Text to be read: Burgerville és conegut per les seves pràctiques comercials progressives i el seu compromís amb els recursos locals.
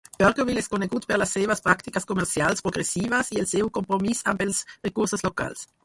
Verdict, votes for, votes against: rejected, 0, 4